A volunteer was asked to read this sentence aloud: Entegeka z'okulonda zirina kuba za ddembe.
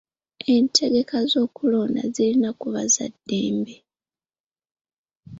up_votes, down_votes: 2, 0